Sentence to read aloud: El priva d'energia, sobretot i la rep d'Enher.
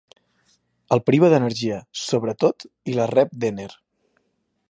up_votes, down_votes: 2, 0